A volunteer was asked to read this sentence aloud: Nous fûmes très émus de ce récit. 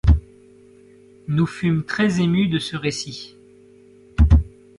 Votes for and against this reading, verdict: 2, 1, accepted